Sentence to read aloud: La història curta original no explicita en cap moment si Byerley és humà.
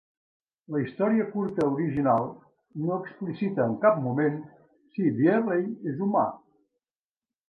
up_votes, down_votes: 2, 0